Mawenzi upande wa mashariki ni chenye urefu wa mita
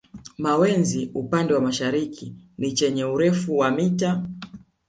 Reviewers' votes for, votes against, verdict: 2, 0, accepted